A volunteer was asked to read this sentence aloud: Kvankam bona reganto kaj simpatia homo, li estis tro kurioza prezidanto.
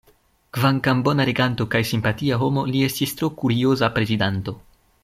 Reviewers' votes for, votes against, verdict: 2, 0, accepted